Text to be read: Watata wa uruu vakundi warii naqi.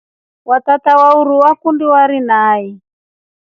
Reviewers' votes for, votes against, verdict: 2, 1, accepted